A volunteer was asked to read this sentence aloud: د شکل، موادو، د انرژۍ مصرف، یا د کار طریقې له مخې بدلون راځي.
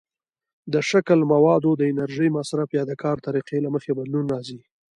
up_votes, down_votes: 2, 0